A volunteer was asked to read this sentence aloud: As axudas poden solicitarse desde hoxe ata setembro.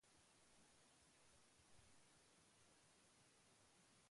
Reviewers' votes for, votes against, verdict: 0, 2, rejected